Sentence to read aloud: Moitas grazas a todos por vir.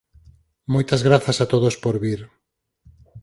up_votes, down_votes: 4, 0